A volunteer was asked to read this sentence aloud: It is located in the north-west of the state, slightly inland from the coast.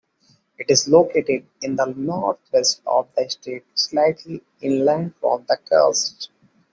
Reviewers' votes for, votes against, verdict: 2, 1, accepted